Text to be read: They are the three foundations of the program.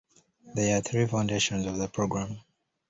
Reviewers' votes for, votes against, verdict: 0, 2, rejected